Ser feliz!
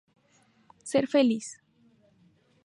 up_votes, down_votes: 2, 0